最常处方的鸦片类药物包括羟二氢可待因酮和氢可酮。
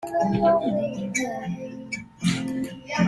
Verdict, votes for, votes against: rejected, 0, 2